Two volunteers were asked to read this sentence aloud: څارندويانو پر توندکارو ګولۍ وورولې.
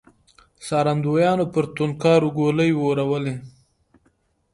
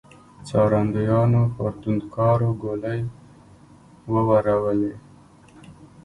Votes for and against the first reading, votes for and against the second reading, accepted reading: 2, 0, 0, 2, first